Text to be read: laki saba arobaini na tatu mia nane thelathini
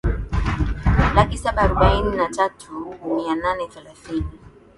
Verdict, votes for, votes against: rejected, 1, 2